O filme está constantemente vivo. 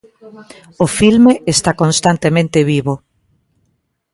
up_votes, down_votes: 2, 0